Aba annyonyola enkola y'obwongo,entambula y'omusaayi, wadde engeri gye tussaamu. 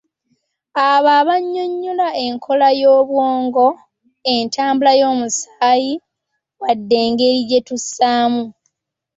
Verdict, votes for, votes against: rejected, 0, 2